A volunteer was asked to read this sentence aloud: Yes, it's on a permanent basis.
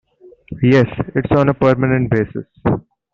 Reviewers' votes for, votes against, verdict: 0, 2, rejected